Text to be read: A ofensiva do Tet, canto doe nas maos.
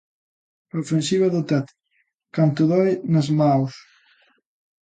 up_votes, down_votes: 2, 0